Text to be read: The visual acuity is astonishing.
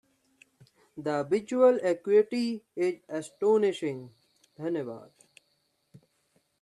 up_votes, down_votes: 1, 2